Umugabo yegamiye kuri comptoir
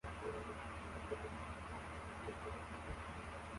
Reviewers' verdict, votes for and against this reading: rejected, 0, 2